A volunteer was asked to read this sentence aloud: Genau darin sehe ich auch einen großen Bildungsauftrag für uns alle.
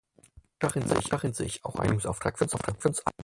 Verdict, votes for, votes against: rejected, 0, 4